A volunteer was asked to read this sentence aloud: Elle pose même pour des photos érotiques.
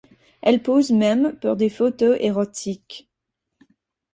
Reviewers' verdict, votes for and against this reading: accepted, 4, 0